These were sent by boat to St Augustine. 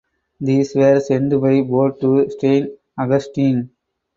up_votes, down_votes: 4, 4